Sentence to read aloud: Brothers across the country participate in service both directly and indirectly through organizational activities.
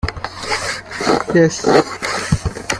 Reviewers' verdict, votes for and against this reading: rejected, 0, 2